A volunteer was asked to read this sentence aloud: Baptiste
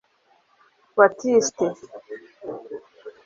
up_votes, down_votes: 0, 2